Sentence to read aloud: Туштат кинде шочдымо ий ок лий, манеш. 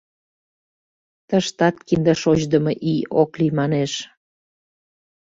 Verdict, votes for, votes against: rejected, 0, 2